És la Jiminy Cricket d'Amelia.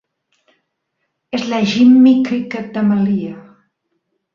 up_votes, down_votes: 1, 2